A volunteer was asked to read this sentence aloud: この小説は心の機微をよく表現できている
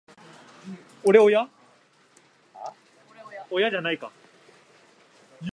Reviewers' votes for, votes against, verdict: 0, 2, rejected